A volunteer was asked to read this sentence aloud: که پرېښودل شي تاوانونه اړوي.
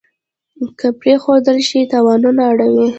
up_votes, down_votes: 2, 0